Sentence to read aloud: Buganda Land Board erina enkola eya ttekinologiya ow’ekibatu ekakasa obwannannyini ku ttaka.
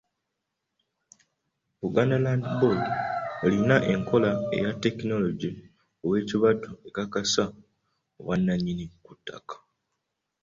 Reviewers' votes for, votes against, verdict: 0, 2, rejected